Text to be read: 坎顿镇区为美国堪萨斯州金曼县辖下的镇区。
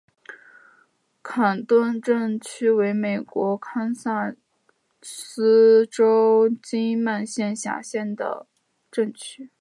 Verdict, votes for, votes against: accepted, 4, 1